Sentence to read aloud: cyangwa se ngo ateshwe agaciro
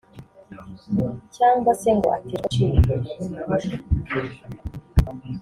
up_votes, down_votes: 0, 2